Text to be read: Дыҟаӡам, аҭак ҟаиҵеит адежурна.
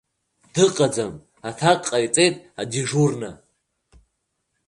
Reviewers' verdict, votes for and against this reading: rejected, 1, 2